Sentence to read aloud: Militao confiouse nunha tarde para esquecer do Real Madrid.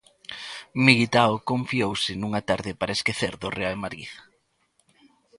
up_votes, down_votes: 2, 0